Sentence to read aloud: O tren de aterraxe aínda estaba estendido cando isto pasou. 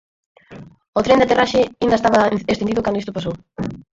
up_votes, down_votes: 2, 4